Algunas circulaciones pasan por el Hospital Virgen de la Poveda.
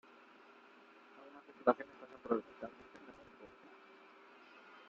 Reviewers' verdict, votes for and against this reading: rejected, 0, 2